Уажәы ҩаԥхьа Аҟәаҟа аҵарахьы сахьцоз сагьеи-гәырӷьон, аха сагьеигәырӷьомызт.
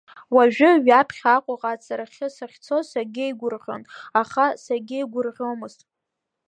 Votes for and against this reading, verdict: 0, 3, rejected